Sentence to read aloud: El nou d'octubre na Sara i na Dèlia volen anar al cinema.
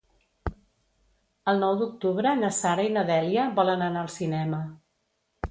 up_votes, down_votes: 2, 0